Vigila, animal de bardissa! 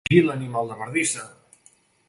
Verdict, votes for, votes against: rejected, 1, 2